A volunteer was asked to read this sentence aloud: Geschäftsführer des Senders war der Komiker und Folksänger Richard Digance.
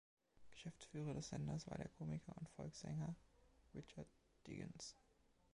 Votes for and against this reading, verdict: 1, 2, rejected